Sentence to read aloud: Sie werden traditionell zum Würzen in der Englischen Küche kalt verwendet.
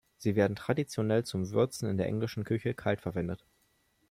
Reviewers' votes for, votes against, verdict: 2, 0, accepted